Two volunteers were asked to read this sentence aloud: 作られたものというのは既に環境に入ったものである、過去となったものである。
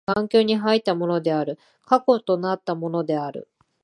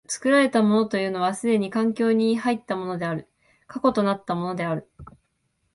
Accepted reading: second